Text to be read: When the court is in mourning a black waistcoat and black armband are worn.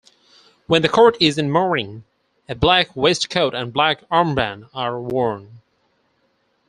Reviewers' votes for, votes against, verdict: 4, 2, accepted